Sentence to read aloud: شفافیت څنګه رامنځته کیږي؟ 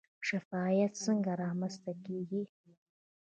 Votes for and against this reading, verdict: 0, 2, rejected